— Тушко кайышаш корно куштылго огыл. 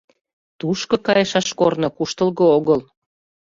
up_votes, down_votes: 2, 0